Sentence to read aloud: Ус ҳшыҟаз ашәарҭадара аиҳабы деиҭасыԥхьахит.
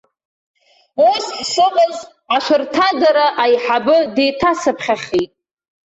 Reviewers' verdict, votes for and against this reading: rejected, 0, 2